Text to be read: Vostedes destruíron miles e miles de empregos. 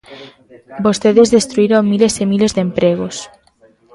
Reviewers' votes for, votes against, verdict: 2, 0, accepted